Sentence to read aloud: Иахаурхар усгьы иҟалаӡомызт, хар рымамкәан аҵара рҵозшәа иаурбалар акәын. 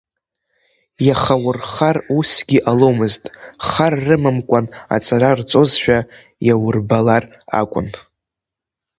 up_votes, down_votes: 1, 2